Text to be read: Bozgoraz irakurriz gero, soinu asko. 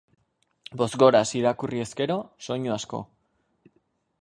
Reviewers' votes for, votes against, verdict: 2, 2, rejected